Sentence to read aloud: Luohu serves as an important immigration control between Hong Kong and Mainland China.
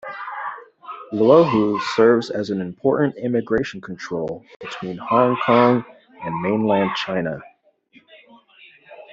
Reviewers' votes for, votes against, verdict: 2, 1, accepted